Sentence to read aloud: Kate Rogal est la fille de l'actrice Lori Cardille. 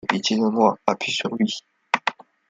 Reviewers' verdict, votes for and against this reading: rejected, 0, 2